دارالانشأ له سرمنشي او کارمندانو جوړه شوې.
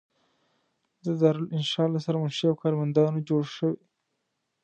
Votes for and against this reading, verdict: 2, 0, accepted